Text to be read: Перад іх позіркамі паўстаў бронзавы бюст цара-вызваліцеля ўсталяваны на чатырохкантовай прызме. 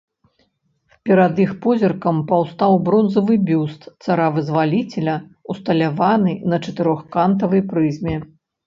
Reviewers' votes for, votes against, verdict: 0, 2, rejected